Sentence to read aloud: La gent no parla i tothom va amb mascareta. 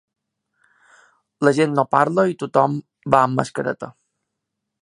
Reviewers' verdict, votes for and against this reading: accepted, 3, 0